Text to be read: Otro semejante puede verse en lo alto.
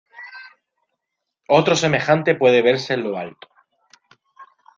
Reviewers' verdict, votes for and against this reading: accepted, 2, 0